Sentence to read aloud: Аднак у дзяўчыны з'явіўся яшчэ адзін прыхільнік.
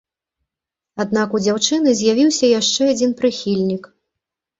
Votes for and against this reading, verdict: 2, 0, accepted